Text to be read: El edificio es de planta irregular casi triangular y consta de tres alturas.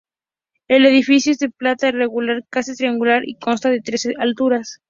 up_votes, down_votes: 2, 0